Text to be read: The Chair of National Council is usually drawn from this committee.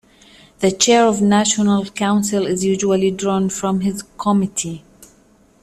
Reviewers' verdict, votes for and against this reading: rejected, 0, 2